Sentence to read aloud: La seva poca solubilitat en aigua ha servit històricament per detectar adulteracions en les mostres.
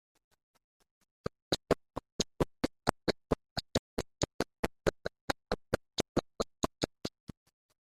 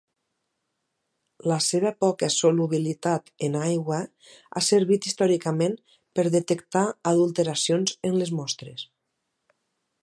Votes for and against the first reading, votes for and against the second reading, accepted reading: 0, 2, 4, 0, second